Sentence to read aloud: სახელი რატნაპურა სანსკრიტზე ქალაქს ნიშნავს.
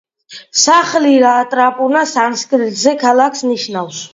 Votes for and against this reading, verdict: 0, 2, rejected